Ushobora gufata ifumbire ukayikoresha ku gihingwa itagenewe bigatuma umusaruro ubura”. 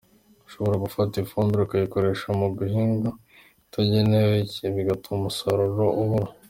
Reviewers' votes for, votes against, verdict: 2, 0, accepted